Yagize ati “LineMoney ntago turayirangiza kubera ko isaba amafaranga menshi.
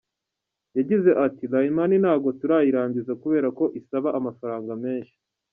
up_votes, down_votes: 2, 1